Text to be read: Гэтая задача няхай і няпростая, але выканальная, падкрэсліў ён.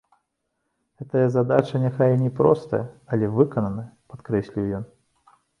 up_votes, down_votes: 0, 2